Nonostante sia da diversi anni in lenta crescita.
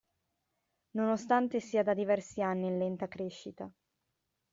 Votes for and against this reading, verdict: 2, 0, accepted